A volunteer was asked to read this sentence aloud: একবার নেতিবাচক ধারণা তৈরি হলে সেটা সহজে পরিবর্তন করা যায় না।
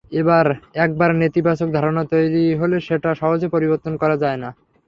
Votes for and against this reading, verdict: 3, 0, accepted